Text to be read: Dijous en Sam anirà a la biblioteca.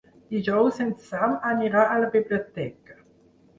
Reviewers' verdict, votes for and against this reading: accepted, 6, 0